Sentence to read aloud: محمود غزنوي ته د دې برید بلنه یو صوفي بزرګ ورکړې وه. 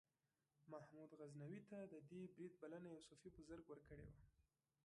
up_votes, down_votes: 2, 0